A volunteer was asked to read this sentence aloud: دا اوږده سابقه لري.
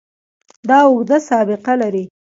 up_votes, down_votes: 2, 0